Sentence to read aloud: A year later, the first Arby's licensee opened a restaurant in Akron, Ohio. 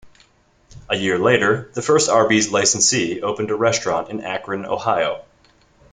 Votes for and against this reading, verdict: 2, 0, accepted